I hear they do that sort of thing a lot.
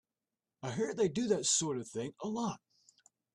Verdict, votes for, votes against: accepted, 2, 0